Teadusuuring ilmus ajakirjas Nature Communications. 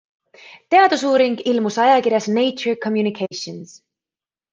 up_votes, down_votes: 2, 0